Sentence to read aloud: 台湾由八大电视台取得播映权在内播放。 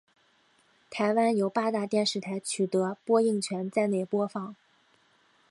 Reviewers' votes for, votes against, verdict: 4, 0, accepted